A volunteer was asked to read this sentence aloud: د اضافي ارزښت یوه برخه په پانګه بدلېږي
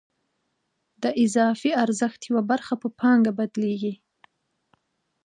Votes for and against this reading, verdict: 2, 0, accepted